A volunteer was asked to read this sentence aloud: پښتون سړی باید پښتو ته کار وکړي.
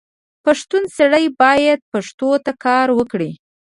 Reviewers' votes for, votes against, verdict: 1, 2, rejected